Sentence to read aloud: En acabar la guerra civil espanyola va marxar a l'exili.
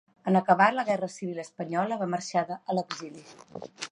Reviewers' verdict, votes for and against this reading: rejected, 0, 2